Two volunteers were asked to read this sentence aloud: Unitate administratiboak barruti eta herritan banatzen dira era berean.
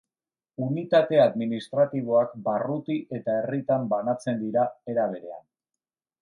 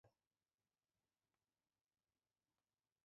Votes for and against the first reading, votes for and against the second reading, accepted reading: 2, 0, 0, 2, first